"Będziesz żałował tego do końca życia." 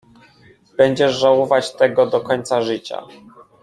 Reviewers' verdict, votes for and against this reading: rejected, 0, 2